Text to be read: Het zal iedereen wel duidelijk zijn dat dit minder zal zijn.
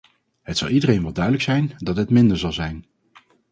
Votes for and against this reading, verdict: 4, 0, accepted